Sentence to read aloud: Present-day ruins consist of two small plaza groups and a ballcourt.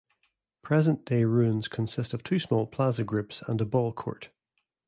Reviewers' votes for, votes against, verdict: 2, 0, accepted